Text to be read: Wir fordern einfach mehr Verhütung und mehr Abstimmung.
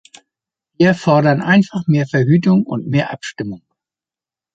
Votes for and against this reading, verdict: 2, 0, accepted